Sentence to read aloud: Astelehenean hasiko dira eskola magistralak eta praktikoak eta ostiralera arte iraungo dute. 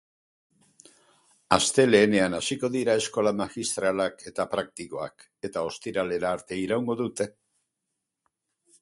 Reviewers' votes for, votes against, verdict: 4, 0, accepted